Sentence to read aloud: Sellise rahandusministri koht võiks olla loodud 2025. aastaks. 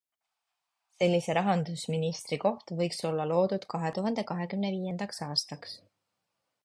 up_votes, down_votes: 0, 2